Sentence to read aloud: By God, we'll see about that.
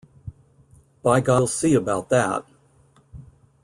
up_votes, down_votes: 1, 2